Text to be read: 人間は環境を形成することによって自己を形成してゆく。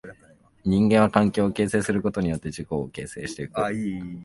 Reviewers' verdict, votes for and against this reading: rejected, 0, 2